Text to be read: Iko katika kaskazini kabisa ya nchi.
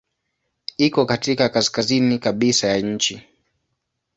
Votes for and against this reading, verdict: 2, 0, accepted